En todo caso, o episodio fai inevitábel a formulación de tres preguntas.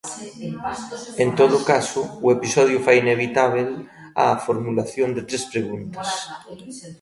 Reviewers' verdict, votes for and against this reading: rejected, 0, 2